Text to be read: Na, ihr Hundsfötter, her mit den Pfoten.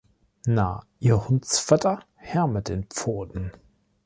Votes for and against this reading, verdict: 3, 0, accepted